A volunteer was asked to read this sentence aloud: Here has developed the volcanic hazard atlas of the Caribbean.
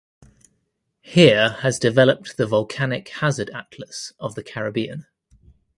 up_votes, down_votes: 2, 0